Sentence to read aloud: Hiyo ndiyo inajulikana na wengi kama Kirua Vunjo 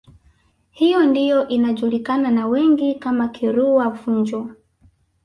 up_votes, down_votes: 2, 0